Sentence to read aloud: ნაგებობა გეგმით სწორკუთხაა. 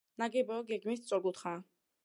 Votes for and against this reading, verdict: 2, 0, accepted